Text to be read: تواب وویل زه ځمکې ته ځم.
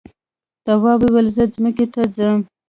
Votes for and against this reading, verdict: 2, 0, accepted